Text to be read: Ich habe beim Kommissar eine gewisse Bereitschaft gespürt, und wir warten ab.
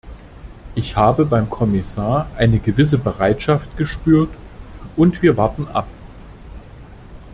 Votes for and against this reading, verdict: 2, 0, accepted